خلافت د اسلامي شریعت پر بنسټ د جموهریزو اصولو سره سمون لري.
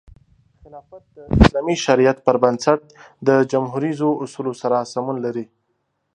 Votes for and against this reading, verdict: 2, 0, accepted